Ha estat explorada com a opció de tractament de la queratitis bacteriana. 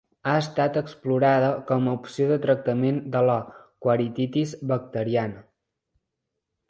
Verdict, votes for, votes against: rejected, 0, 2